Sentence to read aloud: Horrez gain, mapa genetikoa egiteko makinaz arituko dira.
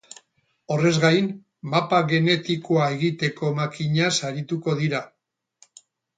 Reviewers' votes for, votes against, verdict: 4, 0, accepted